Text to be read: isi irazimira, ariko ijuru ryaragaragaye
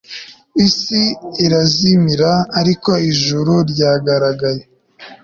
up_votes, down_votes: 2, 0